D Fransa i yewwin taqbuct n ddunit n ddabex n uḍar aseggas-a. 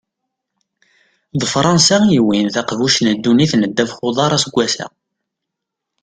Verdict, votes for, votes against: accepted, 2, 0